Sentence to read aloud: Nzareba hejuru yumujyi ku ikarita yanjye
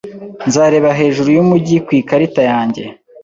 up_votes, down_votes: 3, 0